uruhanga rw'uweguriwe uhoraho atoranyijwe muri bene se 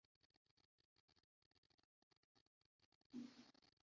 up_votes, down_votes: 0, 2